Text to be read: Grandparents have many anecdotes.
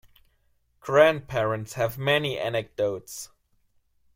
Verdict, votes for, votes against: accepted, 2, 0